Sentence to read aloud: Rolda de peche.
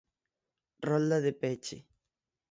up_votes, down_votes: 6, 0